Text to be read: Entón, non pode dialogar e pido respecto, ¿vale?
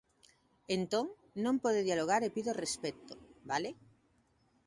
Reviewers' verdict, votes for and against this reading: accepted, 2, 0